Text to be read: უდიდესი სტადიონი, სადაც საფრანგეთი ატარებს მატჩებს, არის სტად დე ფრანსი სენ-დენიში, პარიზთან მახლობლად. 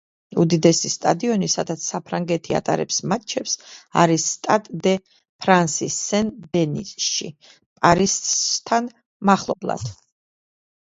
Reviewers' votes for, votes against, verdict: 0, 2, rejected